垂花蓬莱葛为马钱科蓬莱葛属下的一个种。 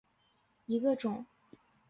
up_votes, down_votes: 1, 2